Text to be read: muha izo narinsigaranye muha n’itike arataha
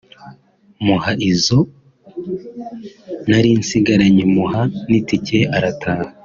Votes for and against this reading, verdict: 2, 0, accepted